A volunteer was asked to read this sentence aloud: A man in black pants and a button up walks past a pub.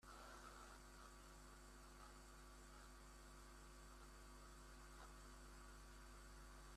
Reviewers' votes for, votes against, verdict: 0, 2, rejected